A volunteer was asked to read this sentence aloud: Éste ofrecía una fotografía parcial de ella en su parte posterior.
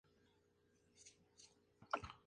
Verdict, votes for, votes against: rejected, 0, 2